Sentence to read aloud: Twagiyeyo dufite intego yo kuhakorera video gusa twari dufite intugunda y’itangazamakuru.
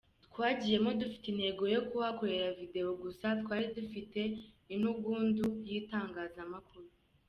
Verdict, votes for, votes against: rejected, 1, 2